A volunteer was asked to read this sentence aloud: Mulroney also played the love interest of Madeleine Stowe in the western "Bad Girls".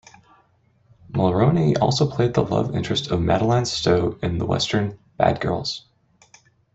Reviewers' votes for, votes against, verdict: 2, 0, accepted